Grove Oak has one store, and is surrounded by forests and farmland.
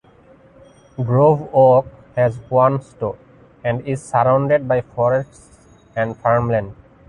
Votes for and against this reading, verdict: 2, 1, accepted